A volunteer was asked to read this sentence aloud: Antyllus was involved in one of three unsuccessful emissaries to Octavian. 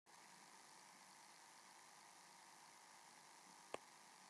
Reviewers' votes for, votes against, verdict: 0, 2, rejected